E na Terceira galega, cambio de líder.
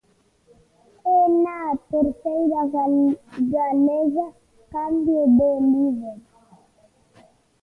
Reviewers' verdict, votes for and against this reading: rejected, 1, 2